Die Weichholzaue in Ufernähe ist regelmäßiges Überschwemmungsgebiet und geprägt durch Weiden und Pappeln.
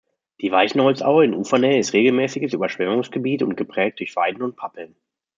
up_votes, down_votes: 1, 2